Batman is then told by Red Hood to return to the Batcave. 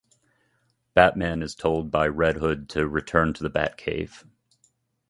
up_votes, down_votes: 1, 2